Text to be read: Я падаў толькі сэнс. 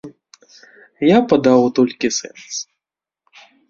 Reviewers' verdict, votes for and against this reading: rejected, 1, 2